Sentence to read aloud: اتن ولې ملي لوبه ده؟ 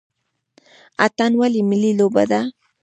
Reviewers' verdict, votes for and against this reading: accepted, 2, 1